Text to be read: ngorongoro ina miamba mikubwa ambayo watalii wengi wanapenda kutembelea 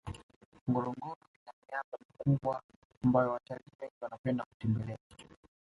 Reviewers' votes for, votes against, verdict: 2, 0, accepted